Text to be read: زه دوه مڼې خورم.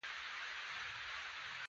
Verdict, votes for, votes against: accepted, 2, 1